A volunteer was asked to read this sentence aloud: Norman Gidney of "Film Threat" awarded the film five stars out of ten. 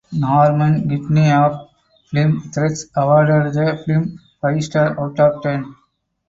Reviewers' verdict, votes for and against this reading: rejected, 0, 4